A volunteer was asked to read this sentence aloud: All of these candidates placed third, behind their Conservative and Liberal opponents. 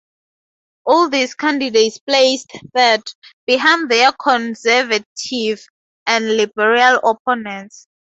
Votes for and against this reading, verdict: 2, 2, rejected